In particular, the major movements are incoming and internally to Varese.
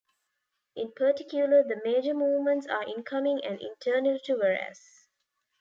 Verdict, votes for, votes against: accepted, 3, 0